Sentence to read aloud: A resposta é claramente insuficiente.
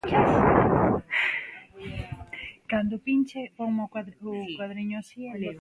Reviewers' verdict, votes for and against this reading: rejected, 0, 2